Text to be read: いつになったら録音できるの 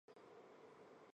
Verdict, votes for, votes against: rejected, 1, 2